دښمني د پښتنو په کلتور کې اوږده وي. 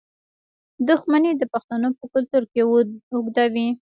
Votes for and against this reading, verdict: 1, 2, rejected